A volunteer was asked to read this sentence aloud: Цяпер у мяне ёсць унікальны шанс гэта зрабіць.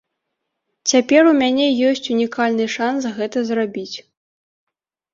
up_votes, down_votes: 2, 0